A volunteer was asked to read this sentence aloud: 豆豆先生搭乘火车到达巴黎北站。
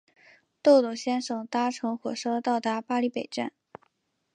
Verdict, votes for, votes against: accepted, 7, 0